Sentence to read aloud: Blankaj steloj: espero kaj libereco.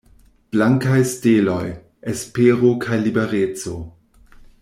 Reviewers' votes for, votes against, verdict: 2, 1, accepted